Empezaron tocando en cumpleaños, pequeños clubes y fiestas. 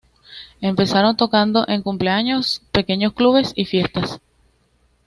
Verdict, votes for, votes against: accepted, 2, 0